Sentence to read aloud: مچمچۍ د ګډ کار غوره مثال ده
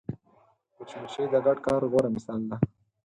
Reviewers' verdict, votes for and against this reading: accepted, 4, 0